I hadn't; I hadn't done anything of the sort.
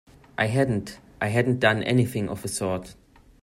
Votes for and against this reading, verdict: 2, 0, accepted